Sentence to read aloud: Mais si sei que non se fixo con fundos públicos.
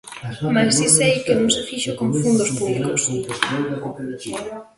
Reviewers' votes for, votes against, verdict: 0, 2, rejected